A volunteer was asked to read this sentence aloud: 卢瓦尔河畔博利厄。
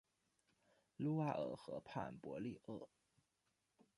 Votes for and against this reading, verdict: 2, 0, accepted